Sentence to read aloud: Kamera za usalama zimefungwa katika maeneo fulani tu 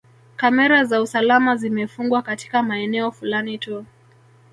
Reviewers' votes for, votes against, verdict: 3, 0, accepted